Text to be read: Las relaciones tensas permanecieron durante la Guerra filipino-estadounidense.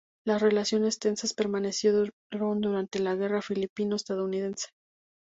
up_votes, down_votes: 0, 2